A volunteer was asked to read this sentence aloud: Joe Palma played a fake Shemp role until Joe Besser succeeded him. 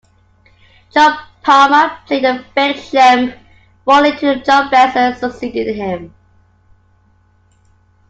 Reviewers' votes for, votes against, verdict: 0, 3, rejected